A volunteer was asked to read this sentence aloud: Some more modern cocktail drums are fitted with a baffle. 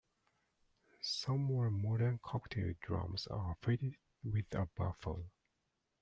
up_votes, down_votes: 2, 0